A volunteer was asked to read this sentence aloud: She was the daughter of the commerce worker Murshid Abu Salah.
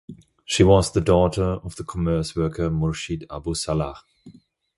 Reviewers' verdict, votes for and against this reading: accepted, 2, 0